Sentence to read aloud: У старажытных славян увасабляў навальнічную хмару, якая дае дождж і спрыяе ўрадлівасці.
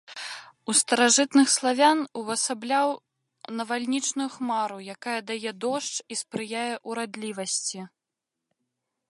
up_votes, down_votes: 3, 0